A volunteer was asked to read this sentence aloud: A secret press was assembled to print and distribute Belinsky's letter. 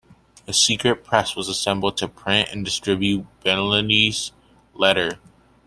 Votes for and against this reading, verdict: 0, 2, rejected